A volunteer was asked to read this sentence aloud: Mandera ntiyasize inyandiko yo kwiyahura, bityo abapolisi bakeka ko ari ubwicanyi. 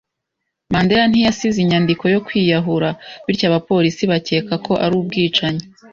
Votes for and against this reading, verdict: 2, 0, accepted